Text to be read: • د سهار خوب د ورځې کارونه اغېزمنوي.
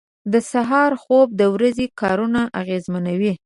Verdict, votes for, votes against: accepted, 5, 0